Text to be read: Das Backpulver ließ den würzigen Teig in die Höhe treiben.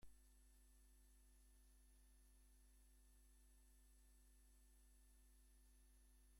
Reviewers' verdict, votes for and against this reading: rejected, 0, 2